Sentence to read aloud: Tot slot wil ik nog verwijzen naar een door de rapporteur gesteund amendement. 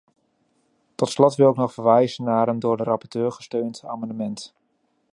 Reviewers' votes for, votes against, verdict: 2, 0, accepted